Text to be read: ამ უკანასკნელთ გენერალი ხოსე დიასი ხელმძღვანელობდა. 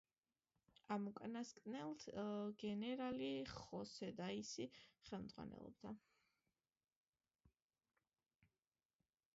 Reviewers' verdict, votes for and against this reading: rejected, 0, 2